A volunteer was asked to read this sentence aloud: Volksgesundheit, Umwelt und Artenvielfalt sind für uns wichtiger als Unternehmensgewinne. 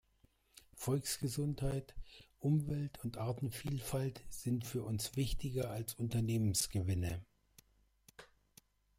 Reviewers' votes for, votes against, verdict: 2, 0, accepted